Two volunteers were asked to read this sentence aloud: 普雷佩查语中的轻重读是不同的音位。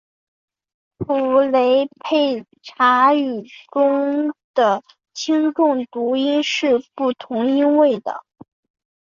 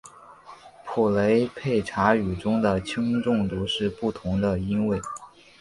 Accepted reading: second